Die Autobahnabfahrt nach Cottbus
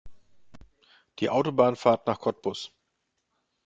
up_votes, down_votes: 0, 2